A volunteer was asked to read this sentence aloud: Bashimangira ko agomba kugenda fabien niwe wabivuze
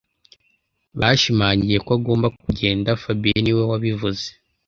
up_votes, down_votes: 1, 2